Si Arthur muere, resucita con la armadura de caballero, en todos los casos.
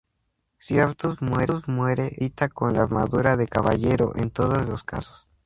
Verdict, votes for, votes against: rejected, 0, 2